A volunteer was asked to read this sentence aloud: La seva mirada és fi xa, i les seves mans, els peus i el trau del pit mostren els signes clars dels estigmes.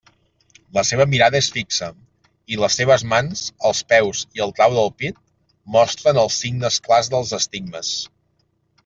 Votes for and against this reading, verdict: 2, 0, accepted